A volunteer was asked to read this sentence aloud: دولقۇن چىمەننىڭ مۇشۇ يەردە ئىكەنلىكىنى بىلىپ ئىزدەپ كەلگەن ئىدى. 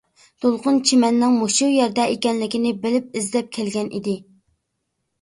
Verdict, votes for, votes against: accepted, 2, 0